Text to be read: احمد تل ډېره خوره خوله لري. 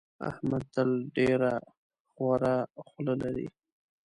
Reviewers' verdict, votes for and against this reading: accepted, 2, 0